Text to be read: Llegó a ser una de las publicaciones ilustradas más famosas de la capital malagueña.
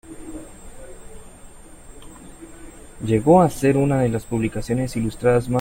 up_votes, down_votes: 0, 2